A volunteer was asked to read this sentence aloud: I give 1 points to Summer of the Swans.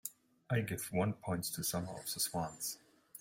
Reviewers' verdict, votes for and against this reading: rejected, 0, 2